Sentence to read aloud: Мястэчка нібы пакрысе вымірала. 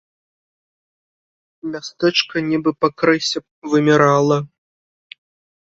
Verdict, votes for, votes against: rejected, 1, 2